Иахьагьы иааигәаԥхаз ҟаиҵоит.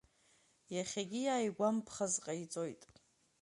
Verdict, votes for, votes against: rejected, 0, 2